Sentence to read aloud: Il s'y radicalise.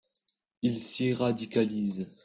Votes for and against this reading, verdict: 2, 0, accepted